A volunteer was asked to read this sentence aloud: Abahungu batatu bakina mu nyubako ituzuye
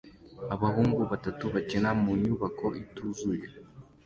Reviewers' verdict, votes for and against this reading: accepted, 2, 0